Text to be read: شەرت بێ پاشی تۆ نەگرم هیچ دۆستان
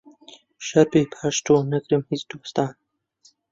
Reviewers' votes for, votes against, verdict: 1, 2, rejected